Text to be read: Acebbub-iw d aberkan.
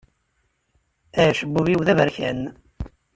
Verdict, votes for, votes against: accepted, 2, 0